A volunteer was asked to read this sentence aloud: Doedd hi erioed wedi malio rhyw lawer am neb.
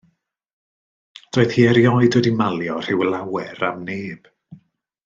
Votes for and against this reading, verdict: 2, 0, accepted